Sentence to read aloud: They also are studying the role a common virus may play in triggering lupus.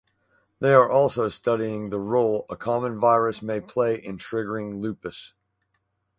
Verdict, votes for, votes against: rejected, 2, 4